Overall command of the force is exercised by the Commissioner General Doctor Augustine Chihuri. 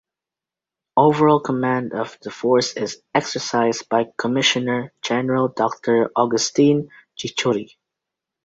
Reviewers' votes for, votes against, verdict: 1, 2, rejected